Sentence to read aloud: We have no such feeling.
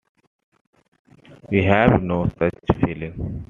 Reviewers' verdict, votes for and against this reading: rejected, 1, 2